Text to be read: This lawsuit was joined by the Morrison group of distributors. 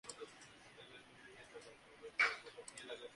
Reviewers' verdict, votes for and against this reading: rejected, 0, 2